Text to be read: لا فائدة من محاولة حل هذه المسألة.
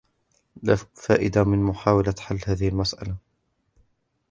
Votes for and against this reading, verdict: 2, 0, accepted